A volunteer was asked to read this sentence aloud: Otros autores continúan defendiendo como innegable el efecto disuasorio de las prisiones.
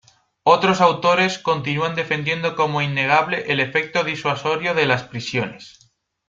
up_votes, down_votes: 2, 0